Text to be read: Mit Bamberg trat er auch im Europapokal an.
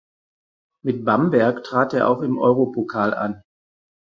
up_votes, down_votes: 0, 4